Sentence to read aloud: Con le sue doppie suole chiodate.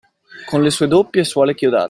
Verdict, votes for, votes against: rejected, 0, 2